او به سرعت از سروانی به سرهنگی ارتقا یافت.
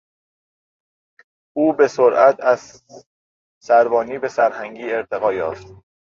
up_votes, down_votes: 1, 2